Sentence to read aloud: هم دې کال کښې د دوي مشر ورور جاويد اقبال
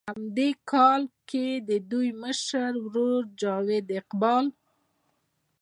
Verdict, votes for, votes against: accepted, 2, 1